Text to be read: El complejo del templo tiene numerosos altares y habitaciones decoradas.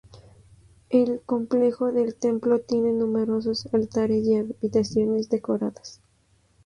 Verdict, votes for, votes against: accepted, 4, 0